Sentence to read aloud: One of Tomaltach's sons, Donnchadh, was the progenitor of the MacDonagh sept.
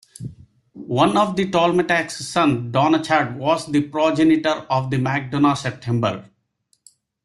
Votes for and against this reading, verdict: 0, 2, rejected